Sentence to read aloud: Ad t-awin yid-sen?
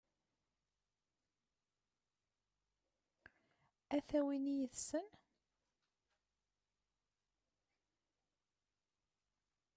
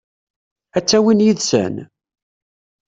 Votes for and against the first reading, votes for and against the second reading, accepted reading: 0, 2, 2, 0, second